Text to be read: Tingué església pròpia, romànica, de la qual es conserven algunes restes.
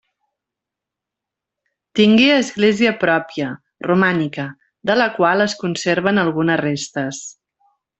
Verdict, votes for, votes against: accepted, 2, 0